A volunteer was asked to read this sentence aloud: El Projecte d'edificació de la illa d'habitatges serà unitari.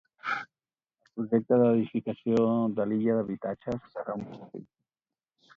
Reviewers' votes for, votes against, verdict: 0, 4, rejected